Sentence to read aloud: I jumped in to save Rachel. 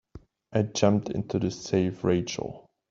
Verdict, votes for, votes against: rejected, 0, 2